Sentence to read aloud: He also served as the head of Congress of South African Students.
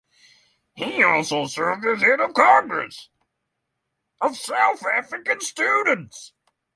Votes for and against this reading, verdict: 0, 3, rejected